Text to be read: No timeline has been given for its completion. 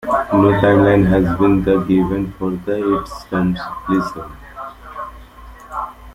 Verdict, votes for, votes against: rejected, 0, 2